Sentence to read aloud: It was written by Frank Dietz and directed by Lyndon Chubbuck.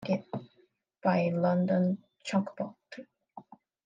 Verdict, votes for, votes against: rejected, 0, 3